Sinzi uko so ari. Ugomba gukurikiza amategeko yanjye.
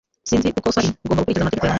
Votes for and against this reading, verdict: 0, 2, rejected